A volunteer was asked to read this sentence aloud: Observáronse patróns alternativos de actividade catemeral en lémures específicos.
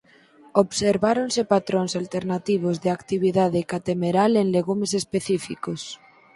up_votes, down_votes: 2, 4